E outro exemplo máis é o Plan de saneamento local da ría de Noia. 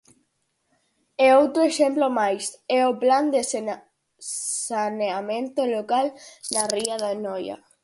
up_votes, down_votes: 0, 4